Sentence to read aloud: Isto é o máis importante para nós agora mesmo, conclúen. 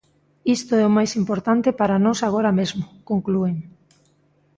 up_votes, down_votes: 2, 0